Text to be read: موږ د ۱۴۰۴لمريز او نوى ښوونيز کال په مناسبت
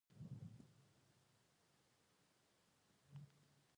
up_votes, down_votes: 0, 2